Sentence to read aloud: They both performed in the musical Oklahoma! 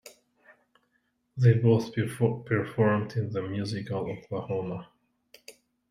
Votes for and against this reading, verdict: 0, 2, rejected